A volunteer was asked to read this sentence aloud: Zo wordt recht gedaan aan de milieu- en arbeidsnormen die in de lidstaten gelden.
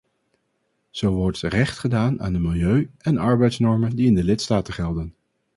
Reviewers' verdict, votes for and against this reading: accepted, 4, 0